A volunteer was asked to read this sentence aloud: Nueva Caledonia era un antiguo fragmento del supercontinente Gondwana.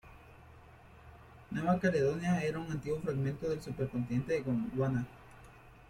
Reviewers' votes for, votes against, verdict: 2, 0, accepted